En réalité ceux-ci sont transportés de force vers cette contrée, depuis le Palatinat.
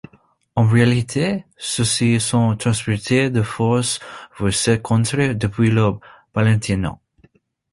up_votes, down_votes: 0, 2